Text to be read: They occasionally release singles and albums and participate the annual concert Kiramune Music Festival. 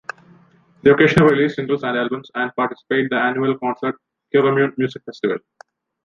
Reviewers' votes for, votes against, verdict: 1, 2, rejected